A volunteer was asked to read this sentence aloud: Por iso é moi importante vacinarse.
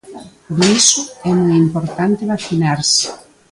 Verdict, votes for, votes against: rejected, 0, 2